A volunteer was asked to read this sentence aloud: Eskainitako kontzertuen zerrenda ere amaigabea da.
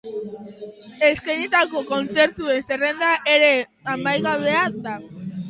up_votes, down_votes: 0, 2